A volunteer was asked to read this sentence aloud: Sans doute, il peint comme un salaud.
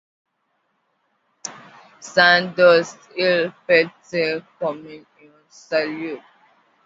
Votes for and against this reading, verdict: 0, 2, rejected